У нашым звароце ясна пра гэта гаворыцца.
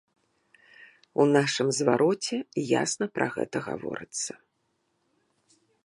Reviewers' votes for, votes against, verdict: 2, 0, accepted